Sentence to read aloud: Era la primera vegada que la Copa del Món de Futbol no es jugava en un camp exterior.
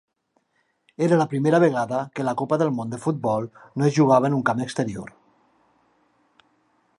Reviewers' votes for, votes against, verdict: 3, 0, accepted